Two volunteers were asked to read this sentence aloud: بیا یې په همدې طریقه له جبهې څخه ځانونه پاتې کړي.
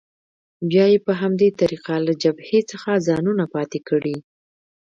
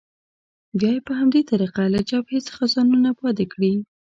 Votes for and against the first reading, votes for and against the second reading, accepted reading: 2, 1, 0, 2, first